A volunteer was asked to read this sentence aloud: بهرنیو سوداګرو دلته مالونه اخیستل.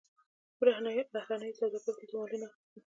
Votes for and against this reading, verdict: 0, 2, rejected